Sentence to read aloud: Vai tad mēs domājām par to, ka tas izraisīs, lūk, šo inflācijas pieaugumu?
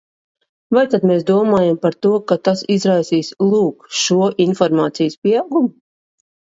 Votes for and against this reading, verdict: 0, 2, rejected